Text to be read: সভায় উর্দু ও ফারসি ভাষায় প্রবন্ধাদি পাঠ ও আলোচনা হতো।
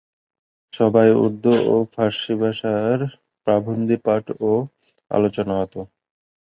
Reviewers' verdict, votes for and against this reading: rejected, 0, 2